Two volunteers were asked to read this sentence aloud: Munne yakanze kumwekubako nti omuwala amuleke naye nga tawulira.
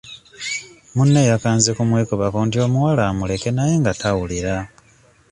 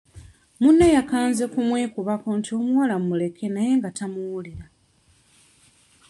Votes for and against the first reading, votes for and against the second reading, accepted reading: 2, 0, 1, 2, first